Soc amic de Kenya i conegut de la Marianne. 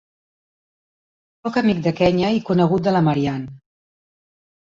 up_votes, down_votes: 3, 2